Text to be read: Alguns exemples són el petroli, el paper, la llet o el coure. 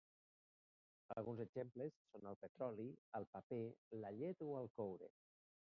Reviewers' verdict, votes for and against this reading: rejected, 0, 2